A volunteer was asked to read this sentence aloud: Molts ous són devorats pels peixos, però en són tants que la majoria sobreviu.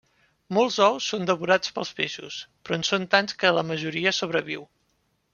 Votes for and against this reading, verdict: 3, 0, accepted